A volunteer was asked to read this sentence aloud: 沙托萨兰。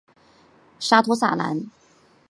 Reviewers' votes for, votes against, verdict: 3, 0, accepted